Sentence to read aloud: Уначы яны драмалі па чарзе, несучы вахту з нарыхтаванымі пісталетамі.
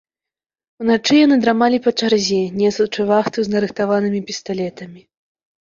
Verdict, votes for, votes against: rejected, 1, 2